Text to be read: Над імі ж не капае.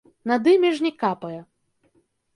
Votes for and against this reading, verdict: 2, 0, accepted